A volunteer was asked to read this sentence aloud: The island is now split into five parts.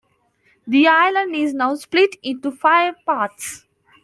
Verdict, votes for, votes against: accepted, 2, 0